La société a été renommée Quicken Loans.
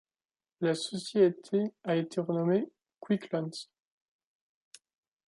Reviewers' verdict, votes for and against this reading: rejected, 1, 2